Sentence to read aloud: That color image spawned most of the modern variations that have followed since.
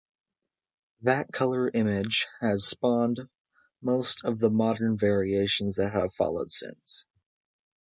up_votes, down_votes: 1, 2